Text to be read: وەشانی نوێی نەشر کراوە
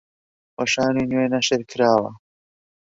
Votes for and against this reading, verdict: 1, 2, rejected